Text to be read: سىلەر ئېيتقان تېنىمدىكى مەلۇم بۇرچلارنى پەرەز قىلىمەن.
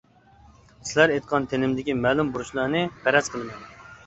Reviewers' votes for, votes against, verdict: 2, 1, accepted